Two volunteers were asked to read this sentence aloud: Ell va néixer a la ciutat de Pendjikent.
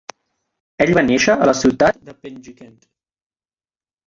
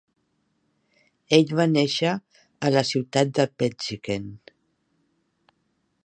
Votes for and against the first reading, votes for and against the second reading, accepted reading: 1, 2, 2, 0, second